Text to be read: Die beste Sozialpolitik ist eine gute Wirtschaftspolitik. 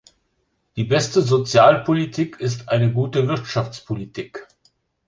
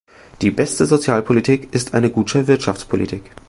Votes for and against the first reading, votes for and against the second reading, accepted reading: 2, 0, 1, 3, first